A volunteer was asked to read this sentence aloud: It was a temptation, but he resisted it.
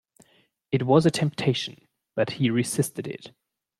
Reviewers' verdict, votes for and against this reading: accepted, 2, 0